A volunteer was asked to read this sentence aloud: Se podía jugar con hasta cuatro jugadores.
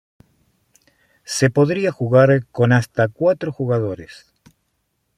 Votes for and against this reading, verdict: 0, 2, rejected